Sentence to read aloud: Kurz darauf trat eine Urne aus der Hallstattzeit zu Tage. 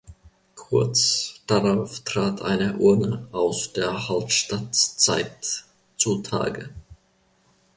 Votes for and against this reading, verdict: 1, 2, rejected